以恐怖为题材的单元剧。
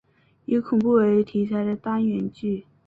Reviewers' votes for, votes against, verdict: 3, 0, accepted